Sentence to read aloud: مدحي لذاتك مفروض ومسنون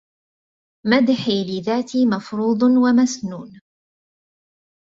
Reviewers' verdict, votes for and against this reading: rejected, 0, 2